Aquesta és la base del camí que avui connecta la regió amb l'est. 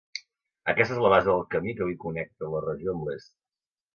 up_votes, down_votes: 2, 0